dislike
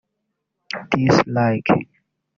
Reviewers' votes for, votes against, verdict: 1, 2, rejected